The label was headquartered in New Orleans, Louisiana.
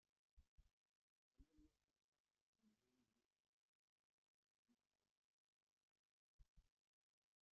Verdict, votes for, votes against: rejected, 0, 2